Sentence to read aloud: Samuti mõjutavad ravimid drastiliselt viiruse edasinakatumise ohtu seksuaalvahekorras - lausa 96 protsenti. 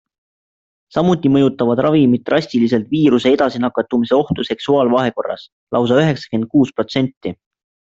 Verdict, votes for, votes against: rejected, 0, 2